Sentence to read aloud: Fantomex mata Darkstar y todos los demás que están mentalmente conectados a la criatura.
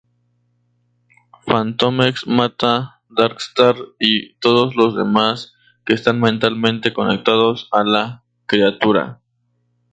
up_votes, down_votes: 0, 2